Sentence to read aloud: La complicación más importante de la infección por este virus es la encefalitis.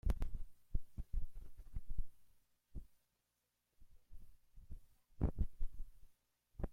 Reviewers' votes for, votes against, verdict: 0, 2, rejected